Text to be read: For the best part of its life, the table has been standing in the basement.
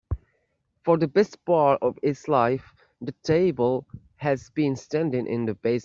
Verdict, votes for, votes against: rejected, 0, 2